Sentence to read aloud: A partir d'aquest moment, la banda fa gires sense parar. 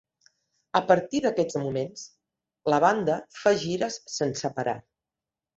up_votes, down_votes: 1, 2